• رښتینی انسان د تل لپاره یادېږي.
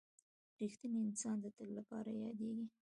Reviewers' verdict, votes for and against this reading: accepted, 2, 1